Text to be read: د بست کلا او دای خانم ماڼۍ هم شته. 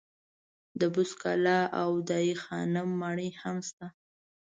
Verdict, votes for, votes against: accepted, 2, 0